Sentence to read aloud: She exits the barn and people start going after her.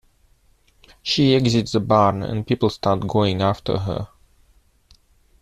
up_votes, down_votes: 2, 1